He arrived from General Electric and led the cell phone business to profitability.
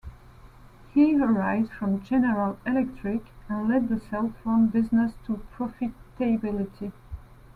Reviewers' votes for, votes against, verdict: 2, 1, accepted